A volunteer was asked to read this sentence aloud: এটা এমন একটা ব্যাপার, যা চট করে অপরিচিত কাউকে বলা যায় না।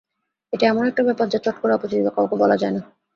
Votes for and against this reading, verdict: 2, 0, accepted